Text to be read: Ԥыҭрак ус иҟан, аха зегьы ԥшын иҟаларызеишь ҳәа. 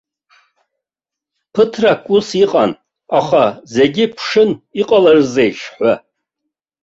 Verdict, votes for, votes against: accepted, 2, 1